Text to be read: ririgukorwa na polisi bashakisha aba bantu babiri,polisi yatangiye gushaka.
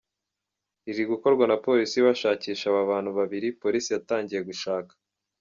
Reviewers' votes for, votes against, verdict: 2, 0, accepted